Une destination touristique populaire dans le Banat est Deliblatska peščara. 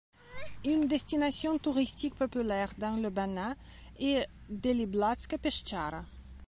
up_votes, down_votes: 1, 2